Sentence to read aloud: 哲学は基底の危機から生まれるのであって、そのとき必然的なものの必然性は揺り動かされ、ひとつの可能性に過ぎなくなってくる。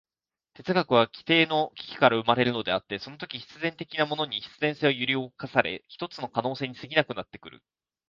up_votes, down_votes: 0, 2